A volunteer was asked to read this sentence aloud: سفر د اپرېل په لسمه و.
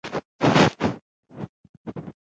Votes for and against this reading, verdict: 1, 2, rejected